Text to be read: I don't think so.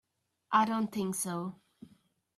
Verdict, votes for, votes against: accepted, 2, 0